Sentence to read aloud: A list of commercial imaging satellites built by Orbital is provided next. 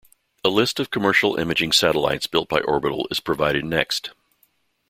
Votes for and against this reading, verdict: 2, 0, accepted